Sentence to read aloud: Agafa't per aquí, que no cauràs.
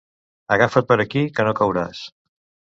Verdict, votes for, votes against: accepted, 2, 0